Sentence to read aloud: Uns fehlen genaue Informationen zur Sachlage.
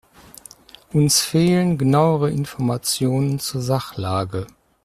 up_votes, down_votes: 0, 2